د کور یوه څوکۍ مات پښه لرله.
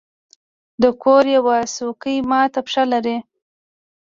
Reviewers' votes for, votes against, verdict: 1, 2, rejected